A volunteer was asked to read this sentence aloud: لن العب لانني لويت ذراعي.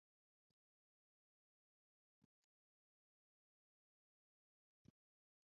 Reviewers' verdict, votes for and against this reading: rejected, 0, 2